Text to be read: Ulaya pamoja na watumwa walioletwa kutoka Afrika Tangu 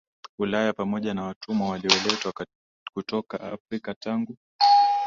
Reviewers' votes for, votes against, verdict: 2, 0, accepted